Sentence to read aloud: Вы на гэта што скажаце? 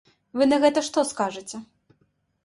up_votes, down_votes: 2, 0